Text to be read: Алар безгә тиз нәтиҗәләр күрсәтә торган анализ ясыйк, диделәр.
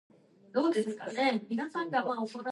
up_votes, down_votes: 0, 2